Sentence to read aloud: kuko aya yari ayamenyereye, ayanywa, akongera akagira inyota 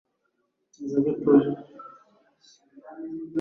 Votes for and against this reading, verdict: 1, 2, rejected